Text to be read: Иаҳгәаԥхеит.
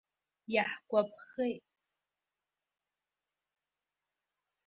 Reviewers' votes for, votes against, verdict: 0, 2, rejected